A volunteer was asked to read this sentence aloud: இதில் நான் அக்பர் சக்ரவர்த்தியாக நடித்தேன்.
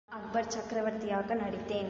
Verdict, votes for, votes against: accepted, 2, 0